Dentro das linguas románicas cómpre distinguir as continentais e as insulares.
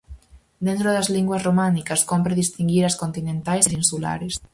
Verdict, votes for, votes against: rejected, 0, 4